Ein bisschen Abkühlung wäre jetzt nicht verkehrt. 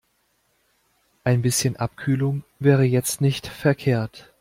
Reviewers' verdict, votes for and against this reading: accepted, 2, 0